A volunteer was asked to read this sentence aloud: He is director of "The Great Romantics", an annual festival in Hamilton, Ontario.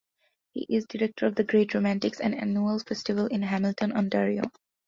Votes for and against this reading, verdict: 3, 0, accepted